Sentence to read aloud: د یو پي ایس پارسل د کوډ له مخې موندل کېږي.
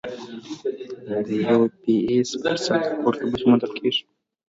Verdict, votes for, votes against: rejected, 0, 2